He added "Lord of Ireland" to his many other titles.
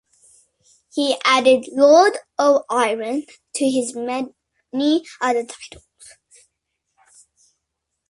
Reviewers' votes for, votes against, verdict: 0, 2, rejected